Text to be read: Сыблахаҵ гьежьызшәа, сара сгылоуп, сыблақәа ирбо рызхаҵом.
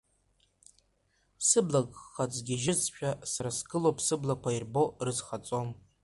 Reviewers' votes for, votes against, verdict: 0, 2, rejected